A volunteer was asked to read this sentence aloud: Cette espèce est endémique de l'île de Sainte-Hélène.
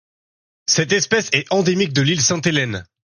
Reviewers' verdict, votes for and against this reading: rejected, 0, 2